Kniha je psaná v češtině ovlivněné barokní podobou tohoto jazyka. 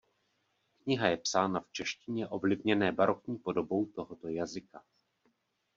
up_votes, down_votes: 0, 2